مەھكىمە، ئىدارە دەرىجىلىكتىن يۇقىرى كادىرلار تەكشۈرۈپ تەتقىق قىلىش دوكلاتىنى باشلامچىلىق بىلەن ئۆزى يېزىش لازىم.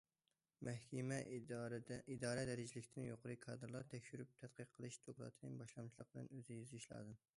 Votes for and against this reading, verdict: 0, 2, rejected